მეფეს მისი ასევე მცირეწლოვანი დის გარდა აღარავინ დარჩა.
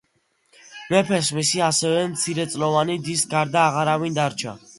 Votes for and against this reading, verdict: 1, 2, rejected